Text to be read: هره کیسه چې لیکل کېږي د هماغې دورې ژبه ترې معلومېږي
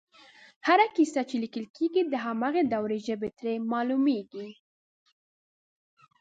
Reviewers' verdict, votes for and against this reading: accepted, 2, 0